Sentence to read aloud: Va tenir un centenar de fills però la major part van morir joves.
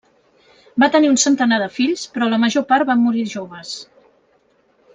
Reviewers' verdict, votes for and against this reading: accepted, 3, 0